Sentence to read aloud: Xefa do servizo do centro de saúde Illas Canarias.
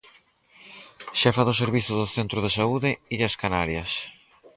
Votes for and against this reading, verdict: 4, 0, accepted